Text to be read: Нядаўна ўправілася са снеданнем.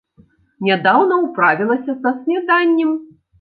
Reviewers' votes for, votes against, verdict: 0, 2, rejected